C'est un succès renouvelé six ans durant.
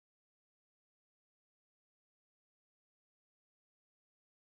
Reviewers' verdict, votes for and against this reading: rejected, 0, 2